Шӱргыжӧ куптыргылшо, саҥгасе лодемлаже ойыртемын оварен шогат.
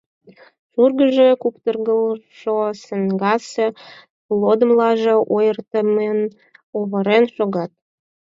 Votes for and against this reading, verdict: 2, 4, rejected